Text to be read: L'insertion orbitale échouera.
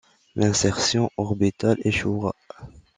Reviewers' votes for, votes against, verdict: 2, 1, accepted